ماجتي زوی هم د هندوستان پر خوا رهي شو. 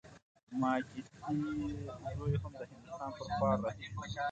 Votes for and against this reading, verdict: 1, 2, rejected